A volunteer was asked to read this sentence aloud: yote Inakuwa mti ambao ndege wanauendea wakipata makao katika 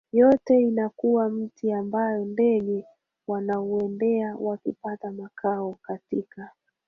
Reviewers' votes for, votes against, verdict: 3, 2, accepted